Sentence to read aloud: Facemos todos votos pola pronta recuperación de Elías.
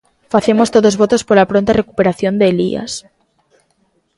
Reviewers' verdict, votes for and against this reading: accepted, 3, 0